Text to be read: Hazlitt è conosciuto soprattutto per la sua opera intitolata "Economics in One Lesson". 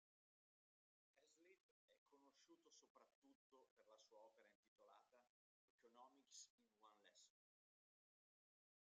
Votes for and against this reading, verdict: 0, 2, rejected